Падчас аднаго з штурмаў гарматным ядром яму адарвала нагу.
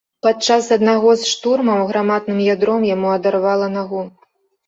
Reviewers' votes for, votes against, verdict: 1, 2, rejected